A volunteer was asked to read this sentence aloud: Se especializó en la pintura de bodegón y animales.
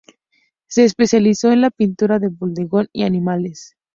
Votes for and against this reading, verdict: 2, 2, rejected